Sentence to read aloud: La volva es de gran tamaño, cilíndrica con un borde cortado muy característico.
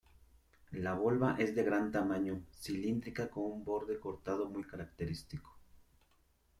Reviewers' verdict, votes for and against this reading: rejected, 1, 2